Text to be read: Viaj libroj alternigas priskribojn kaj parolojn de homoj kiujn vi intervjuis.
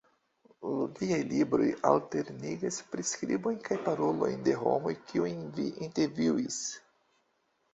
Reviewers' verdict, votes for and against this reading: rejected, 0, 2